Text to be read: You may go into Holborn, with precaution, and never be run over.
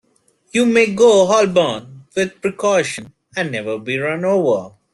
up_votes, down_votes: 0, 2